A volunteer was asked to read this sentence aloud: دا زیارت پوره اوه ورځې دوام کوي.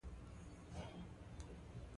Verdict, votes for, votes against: rejected, 1, 2